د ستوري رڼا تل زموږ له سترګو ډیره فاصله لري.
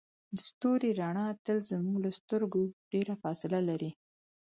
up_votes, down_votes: 4, 0